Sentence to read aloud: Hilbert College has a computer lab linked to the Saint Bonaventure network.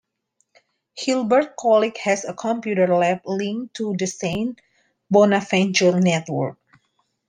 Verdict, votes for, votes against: rejected, 0, 2